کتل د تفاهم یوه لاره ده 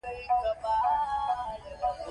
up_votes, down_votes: 0, 2